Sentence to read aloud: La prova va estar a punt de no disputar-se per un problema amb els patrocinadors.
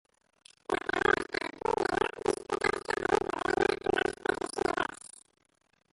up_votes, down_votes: 0, 2